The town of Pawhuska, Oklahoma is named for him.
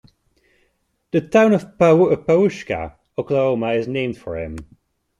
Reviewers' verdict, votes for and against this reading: rejected, 1, 2